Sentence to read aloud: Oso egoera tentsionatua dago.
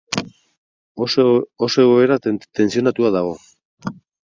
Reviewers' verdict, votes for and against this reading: rejected, 2, 4